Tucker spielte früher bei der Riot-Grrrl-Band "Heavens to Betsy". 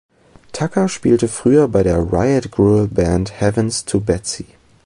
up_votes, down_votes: 2, 0